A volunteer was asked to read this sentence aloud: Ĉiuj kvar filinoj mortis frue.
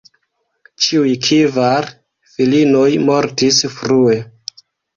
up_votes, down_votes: 2, 1